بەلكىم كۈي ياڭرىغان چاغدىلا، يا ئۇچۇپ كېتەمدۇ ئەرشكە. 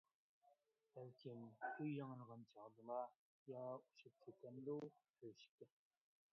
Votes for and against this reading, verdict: 0, 2, rejected